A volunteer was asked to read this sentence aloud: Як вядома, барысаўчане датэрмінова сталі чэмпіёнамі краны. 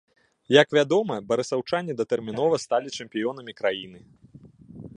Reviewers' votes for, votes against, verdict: 1, 2, rejected